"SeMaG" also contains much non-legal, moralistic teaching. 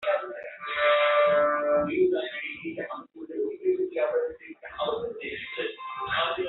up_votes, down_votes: 0, 2